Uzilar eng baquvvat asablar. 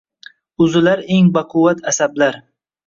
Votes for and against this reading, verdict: 2, 0, accepted